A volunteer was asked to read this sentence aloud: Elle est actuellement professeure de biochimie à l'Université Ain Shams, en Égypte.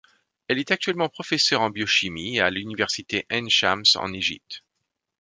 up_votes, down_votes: 1, 2